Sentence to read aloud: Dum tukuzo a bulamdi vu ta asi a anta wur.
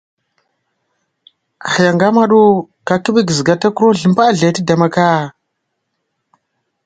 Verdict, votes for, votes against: rejected, 0, 2